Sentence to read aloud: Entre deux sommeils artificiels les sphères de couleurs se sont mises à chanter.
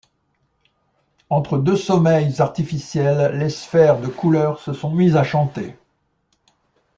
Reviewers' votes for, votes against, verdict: 2, 0, accepted